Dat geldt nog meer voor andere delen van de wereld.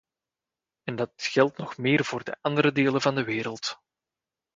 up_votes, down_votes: 0, 2